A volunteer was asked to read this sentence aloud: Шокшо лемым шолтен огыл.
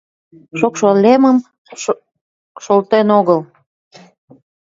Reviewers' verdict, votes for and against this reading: rejected, 1, 2